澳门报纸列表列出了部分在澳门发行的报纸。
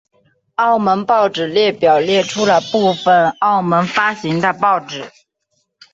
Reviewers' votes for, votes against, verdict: 2, 4, rejected